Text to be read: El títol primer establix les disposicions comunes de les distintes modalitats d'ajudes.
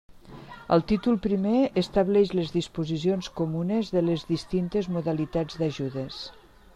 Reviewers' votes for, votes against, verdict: 2, 0, accepted